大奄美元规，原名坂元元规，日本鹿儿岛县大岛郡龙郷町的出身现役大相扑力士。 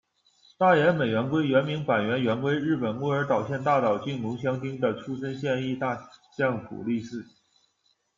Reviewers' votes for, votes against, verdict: 1, 2, rejected